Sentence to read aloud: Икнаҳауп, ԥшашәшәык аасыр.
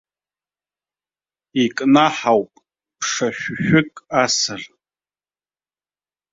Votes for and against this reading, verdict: 0, 2, rejected